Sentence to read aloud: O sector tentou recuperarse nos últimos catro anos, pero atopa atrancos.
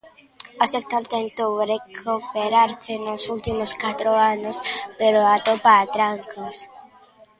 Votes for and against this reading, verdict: 1, 2, rejected